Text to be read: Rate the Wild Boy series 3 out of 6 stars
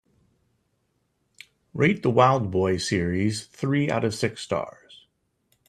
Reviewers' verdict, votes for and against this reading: rejected, 0, 2